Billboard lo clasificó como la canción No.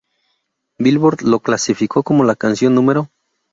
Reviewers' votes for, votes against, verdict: 0, 2, rejected